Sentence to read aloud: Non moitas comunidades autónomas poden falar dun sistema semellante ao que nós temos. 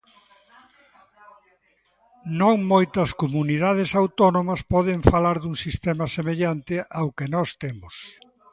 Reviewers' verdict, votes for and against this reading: accepted, 2, 0